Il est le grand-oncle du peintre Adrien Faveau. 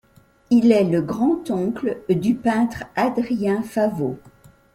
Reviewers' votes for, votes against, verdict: 2, 0, accepted